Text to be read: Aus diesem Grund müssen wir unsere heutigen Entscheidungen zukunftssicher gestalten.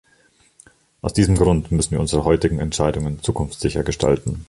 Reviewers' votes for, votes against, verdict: 2, 0, accepted